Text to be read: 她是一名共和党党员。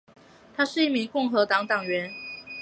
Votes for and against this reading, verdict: 5, 0, accepted